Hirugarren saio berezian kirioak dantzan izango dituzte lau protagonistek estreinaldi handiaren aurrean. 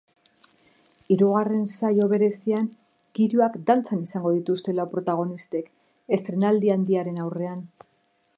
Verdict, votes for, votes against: accepted, 2, 0